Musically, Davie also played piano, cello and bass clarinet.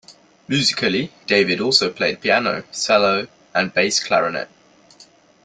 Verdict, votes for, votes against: accepted, 2, 0